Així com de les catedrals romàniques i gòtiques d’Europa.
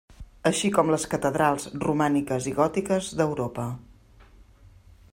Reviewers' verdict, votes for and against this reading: rejected, 1, 2